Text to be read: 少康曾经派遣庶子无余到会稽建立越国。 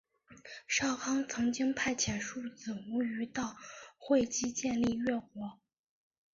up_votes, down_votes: 2, 0